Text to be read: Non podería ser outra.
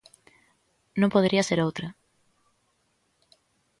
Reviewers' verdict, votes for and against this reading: accepted, 2, 0